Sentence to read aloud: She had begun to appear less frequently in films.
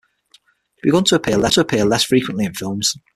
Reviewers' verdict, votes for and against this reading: rejected, 3, 6